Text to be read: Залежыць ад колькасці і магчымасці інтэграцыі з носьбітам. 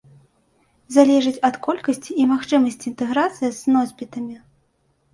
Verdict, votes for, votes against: rejected, 0, 2